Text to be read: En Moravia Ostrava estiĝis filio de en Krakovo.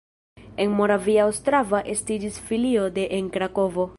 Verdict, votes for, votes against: rejected, 1, 2